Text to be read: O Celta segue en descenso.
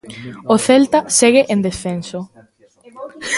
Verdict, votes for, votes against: rejected, 1, 2